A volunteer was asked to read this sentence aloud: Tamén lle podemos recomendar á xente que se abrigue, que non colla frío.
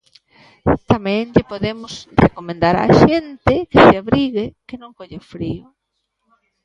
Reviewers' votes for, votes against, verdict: 1, 2, rejected